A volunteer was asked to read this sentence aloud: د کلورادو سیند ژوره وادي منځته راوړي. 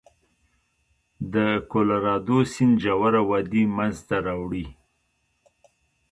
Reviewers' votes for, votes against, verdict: 1, 2, rejected